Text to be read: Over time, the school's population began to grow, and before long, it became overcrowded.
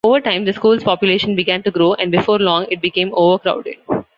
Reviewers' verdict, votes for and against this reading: accepted, 2, 0